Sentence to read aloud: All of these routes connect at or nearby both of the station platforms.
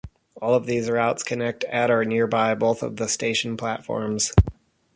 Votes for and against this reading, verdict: 0, 2, rejected